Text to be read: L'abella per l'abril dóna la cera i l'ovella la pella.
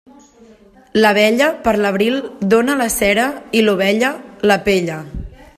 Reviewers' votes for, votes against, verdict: 2, 0, accepted